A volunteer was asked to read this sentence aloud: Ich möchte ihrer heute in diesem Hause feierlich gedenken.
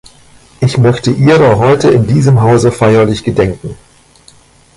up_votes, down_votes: 2, 1